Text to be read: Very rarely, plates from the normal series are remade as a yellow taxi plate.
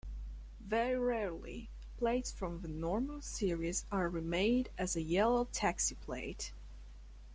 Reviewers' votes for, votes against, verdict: 2, 0, accepted